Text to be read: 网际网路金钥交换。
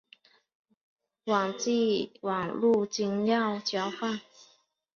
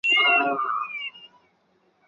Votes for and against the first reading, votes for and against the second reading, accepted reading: 2, 1, 0, 2, first